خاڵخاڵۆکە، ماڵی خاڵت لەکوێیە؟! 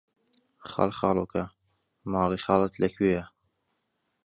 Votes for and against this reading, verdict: 2, 0, accepted